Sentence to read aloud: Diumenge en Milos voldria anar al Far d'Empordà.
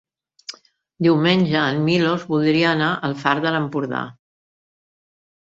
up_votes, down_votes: 0, 2